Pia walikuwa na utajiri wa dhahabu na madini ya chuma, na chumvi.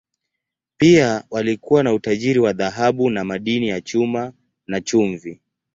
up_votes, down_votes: 2, 0